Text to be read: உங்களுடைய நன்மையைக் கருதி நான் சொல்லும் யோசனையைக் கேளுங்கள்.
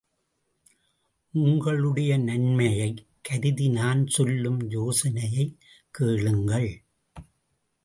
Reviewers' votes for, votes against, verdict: 2, 1, accepted